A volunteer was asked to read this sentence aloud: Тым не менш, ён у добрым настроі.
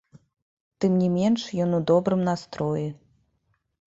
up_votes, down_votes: 2, 1